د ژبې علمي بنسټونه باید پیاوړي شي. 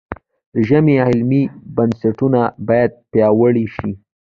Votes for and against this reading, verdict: 2, 0, accepted